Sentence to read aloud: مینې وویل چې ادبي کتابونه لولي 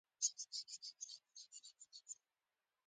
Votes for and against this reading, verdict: 0, 2, rejected